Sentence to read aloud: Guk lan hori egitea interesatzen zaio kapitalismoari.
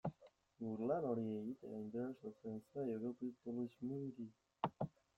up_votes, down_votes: 0, 2